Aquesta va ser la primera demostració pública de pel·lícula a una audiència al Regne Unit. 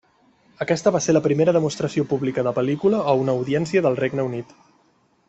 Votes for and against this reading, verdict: 1, 2, rejected